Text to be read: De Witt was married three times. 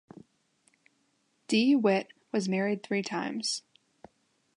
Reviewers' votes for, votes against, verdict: 1, 2, rejected